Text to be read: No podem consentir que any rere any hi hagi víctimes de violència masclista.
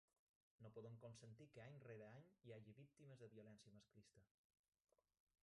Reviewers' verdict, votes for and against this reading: rejected, 1, 2